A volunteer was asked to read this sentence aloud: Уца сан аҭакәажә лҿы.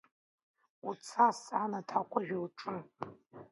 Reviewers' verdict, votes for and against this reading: rejected, 1, 2